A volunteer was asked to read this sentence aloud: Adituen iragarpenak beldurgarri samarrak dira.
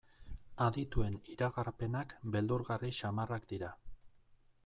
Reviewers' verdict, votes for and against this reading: accepted, 2, 0